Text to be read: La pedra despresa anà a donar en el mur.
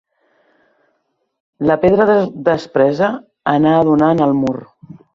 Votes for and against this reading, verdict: 1, 2, rejected